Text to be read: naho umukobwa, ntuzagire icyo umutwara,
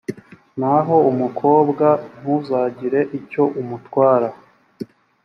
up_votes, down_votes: 3, 0